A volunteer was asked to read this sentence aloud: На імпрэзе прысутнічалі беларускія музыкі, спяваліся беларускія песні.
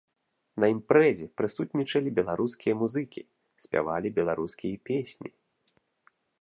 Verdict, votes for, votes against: rejected, 0, 2